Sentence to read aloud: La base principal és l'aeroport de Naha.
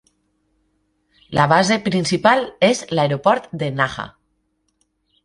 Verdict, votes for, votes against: accepted, 3, 0